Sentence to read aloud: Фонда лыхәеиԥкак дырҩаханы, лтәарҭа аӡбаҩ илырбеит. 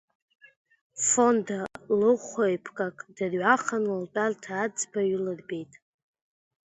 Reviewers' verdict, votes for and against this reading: accepted, 2, 1